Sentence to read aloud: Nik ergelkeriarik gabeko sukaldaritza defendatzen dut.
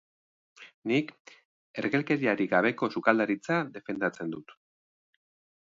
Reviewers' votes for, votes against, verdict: 2, 0, accepted